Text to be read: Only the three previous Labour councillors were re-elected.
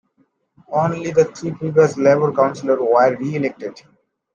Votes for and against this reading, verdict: 2, 0, accepted